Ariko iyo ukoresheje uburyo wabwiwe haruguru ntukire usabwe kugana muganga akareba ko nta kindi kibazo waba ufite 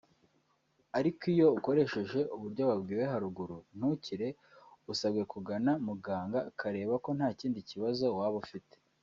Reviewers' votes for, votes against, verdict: 0, 2, rejected